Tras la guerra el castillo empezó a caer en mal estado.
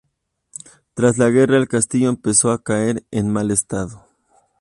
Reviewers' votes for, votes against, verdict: 2, 0, accepted